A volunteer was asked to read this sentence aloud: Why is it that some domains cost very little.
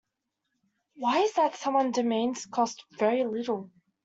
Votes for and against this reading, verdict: 0, 2, rejected